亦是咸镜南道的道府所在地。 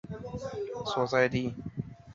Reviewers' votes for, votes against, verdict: 2, 3, rejected